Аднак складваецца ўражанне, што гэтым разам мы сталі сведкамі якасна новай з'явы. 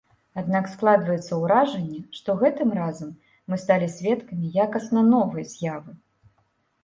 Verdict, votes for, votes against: accepted, 2, 0